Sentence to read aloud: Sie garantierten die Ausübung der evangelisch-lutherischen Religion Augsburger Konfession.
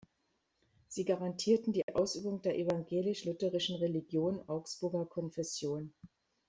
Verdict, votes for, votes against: accepted, 2, 0